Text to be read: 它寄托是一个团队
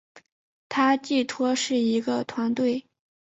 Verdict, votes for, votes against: accepted, 3, 0